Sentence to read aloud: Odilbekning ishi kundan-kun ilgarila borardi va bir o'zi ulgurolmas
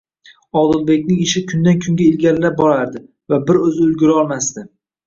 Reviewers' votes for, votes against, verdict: 2, 1, accepted